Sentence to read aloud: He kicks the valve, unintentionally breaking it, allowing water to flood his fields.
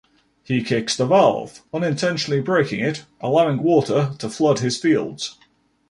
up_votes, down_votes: 2, 0